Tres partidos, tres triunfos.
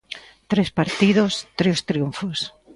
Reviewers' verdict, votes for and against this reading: accepted, 2, 0